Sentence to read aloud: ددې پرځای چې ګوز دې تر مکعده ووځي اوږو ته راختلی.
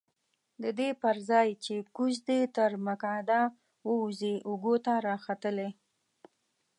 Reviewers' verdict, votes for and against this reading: rejected, 1, 2